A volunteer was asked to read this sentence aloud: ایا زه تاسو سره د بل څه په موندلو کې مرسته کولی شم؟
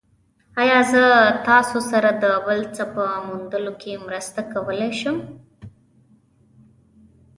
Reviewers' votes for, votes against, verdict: 2, 0, accepted